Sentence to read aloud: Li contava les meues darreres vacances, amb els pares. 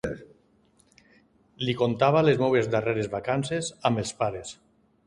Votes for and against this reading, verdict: 1, 2, rejected